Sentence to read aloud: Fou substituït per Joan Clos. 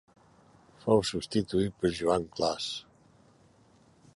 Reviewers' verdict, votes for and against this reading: accepted, 2, 0